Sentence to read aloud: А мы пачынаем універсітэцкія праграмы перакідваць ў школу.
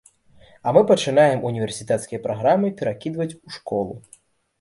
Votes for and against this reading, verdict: 2, 0, accepted